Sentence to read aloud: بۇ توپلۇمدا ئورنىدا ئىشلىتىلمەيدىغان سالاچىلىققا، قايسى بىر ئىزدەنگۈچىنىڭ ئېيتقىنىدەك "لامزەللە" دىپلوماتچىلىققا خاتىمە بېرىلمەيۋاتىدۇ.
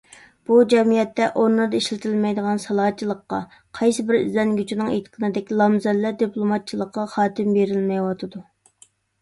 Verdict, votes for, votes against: rejected, 0, 2